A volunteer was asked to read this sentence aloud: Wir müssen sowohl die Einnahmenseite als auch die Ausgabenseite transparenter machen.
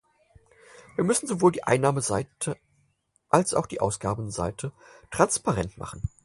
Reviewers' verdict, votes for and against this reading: rejected, 0, 4